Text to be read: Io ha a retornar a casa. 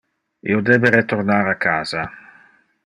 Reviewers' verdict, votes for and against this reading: rejected, 0, 2